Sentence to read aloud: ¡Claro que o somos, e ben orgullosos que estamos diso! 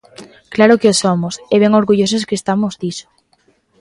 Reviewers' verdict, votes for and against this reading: accepted, 2, 0